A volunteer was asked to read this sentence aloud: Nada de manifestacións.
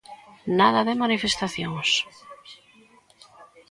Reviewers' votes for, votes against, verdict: 2, 0, accepted